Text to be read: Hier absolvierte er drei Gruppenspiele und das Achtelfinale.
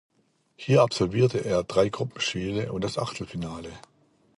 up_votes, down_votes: 2, 0